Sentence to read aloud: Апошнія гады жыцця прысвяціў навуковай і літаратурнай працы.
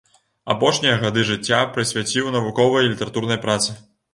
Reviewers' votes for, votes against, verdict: 2, 0, accepted